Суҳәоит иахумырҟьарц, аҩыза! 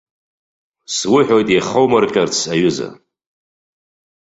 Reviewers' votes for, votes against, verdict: 2, 0, accepted